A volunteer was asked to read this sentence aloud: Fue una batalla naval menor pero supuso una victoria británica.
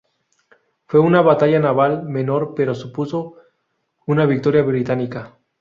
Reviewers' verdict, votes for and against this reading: rejected, 0, 2